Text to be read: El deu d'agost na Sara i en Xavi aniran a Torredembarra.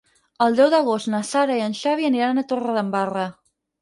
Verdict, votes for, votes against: rejected, 2, 4